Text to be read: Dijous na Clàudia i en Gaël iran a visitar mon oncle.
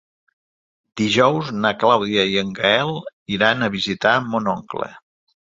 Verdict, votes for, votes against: accepted, 4, 0